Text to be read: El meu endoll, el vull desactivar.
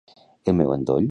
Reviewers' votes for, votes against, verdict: 0, 2, rejected